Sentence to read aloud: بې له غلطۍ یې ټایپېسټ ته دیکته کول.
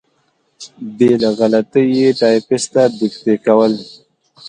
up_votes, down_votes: 2, 0